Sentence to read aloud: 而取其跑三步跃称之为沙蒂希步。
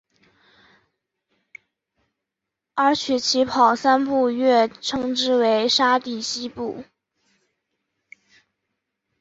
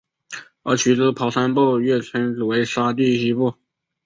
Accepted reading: first